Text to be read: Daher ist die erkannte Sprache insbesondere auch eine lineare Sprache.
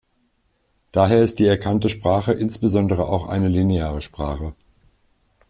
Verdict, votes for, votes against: accepted, 2, 0